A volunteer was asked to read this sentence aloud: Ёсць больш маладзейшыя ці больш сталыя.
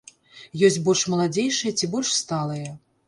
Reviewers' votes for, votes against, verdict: 2, 0, accepted